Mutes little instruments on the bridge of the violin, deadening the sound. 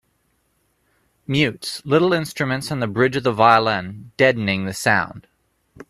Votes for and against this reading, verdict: 2, 0, accepted